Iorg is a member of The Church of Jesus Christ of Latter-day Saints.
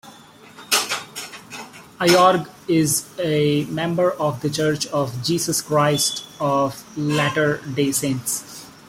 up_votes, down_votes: 0, 2